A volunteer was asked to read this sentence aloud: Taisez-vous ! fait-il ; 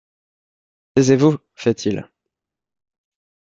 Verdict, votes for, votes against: rejected, 1, 2